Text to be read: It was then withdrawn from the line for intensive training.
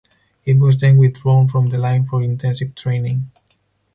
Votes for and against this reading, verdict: 4, 0, accepted